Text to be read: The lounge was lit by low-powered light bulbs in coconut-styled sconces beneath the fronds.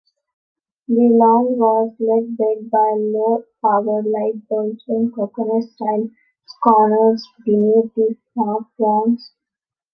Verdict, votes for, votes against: rejected, 0, 2